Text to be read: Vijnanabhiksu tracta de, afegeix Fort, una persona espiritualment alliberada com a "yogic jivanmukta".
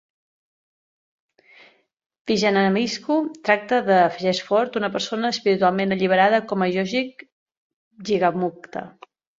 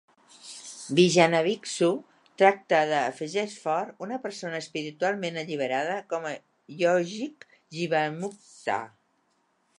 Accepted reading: second